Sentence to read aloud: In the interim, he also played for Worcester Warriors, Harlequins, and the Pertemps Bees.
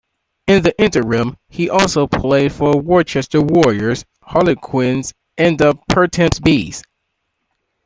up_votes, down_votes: 2, 1